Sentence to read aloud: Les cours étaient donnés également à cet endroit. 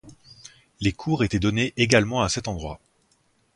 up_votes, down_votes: 4, 0